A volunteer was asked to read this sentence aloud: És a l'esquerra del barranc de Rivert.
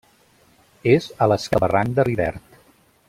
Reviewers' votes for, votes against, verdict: 0, 2, rejected